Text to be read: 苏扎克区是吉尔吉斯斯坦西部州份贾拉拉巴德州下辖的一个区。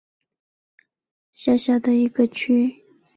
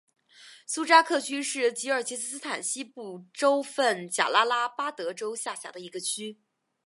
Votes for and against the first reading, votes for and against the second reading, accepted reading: 1, 2, 3, 1, second